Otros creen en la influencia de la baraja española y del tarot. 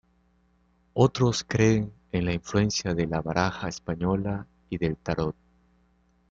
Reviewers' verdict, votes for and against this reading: rejected, 1, 2